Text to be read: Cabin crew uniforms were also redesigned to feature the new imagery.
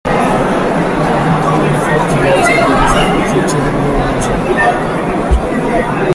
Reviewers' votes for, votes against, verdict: 0, 2, rejected